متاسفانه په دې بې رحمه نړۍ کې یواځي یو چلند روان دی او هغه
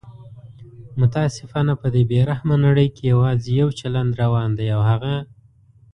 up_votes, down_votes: 2, 0